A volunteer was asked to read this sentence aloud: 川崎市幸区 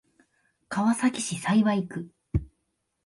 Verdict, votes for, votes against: accepted, 2, 1